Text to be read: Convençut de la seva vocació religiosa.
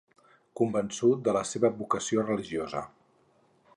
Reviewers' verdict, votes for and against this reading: accepted, 4, 0